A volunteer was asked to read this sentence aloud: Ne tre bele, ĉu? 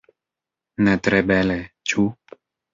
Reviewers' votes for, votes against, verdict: 3, 0, accepted